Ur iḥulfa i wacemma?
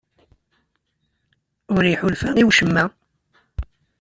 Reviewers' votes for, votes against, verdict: 2, 0, accepted